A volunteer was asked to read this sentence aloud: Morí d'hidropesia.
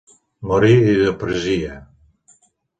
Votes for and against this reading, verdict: 1, 2, rejected